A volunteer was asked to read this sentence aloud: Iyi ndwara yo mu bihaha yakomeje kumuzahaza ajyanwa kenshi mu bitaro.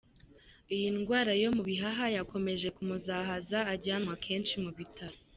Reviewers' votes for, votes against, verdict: 2, 0, accepted